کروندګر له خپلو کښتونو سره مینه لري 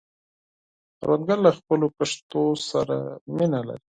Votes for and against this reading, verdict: 2, 4, rejected